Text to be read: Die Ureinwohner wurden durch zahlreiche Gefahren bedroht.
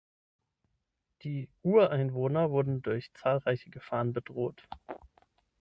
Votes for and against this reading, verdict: 6, 0, accepted